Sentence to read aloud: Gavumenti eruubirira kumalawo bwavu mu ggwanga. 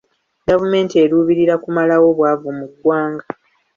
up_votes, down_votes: 2, 0